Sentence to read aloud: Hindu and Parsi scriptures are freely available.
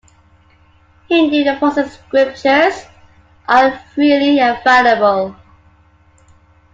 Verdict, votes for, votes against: rejected, 1, 2